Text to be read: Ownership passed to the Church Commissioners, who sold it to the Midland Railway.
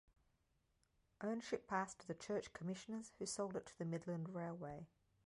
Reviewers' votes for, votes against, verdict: 2, 0, accepted